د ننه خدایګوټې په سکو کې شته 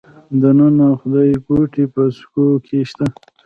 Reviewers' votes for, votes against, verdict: 1, 2, rejected